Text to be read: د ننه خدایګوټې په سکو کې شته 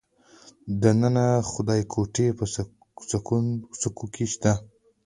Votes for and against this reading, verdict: 2, 1, accepted